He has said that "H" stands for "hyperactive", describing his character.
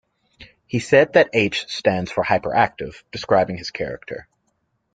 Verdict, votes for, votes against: accepted, 2, 0